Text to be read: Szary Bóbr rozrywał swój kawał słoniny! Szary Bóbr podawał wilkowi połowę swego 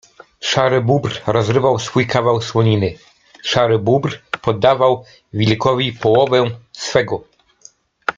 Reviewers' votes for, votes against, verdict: 1, 2, rejected